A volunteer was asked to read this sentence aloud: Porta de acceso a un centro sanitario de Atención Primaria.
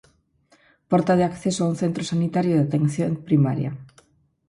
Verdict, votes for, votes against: accepted, 4, 0